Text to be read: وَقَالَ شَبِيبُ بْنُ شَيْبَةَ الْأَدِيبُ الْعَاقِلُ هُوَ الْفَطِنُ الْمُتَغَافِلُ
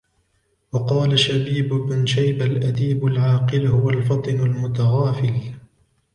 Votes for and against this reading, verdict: 2, 1, accepted